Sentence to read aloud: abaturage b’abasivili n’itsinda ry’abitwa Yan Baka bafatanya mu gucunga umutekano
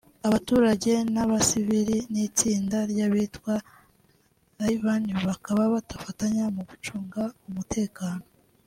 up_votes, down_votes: 2, 0